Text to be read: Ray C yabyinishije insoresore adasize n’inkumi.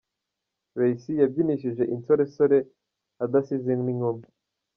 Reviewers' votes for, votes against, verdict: 1, 2, rejected